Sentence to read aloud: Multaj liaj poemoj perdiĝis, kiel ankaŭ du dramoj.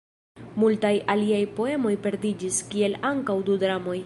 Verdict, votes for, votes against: rejected, 1, 2